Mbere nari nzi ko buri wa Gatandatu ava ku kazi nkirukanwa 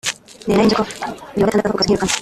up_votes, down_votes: 0, 2